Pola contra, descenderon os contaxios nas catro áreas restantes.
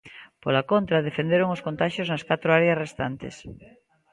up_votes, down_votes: 2, 0